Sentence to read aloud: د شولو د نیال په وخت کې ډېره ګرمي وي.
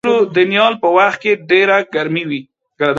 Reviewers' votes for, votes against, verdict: 2, 1, accepted